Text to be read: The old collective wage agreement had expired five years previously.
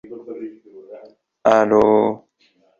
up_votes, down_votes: 0, 2